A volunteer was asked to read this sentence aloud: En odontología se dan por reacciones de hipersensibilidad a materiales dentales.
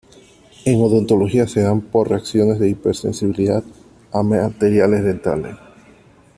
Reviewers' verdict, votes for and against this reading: accepted, 2, 0